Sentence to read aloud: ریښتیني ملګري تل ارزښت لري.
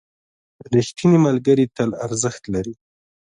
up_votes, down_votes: 0, 2